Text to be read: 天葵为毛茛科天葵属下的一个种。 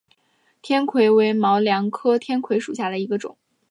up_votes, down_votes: 2, 3